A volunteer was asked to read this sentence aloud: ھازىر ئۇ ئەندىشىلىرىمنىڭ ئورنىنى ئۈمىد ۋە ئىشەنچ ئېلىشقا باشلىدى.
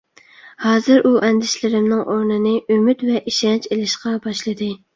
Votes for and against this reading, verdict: 2, 0, accepted